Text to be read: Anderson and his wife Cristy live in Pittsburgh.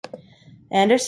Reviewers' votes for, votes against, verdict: 0, 2, rejected